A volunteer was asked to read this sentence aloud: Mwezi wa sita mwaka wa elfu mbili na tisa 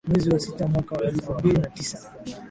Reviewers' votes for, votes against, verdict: 2, 0, accepted